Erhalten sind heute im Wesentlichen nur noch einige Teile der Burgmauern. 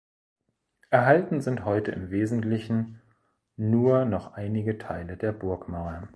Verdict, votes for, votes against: accepted, 2, 0